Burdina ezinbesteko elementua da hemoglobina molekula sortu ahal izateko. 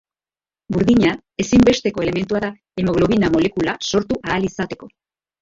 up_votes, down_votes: 1, 2